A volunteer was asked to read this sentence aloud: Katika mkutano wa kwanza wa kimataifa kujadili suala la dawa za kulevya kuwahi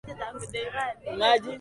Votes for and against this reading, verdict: 0, 2, rejected